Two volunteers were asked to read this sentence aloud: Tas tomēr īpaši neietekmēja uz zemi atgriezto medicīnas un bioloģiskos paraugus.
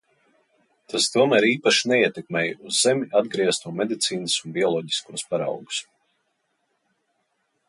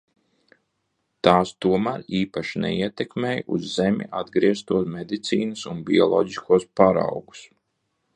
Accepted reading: first